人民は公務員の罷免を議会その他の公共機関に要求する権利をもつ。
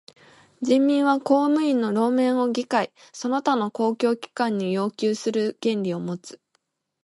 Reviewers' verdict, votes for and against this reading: accepted, 2, 1